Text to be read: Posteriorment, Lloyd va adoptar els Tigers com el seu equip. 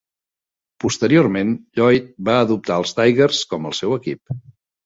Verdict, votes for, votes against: accepted, 2, 0